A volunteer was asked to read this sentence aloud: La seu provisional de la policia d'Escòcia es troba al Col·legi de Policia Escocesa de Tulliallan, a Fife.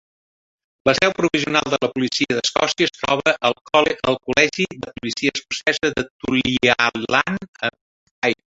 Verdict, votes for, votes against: rejected, 0, 2